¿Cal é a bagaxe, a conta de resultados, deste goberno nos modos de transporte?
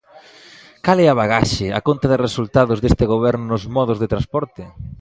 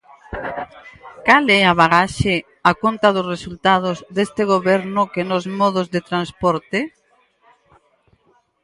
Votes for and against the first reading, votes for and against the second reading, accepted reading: 2, 0, 0, 4, first